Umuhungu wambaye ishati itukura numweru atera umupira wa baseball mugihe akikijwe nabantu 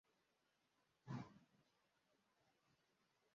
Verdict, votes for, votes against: rejected, 0, 2